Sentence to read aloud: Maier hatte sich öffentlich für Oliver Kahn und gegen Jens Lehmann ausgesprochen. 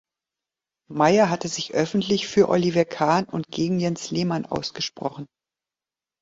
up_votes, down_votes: 4, 0